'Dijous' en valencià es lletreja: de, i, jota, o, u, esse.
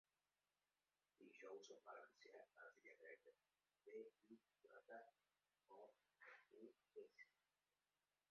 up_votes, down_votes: 0, 2